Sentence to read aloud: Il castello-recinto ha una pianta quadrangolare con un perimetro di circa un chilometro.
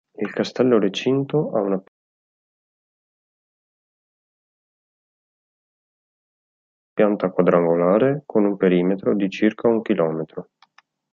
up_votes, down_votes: 1, 2